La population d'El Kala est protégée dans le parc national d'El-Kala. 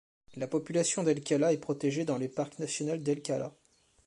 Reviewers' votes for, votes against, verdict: 1, 2, rejected